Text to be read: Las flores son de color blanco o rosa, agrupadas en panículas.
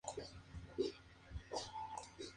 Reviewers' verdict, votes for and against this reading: accepted, 2, 0